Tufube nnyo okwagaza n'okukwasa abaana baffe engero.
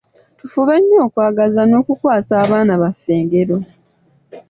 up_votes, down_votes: 2, 0